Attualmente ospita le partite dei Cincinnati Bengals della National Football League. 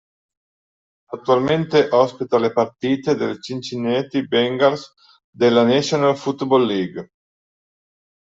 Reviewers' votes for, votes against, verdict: 2, 3, rejected